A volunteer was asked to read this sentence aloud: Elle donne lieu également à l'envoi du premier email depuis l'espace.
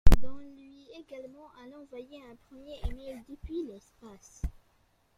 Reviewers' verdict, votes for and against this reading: rejected, 0, 2